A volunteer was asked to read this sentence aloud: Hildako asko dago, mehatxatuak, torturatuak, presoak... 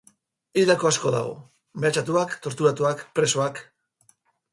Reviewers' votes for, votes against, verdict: 4, 0, accepted